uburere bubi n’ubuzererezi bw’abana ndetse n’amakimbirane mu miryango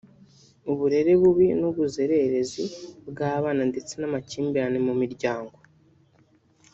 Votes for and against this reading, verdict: 1, 2, rejected